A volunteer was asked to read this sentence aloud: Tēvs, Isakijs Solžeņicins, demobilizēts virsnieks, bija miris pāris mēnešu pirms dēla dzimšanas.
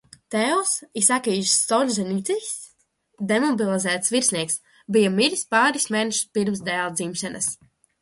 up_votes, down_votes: 0, 2